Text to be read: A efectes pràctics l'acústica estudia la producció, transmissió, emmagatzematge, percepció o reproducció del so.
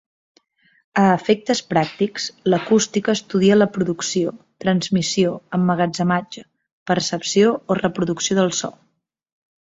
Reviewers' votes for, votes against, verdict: 2, 0, accepted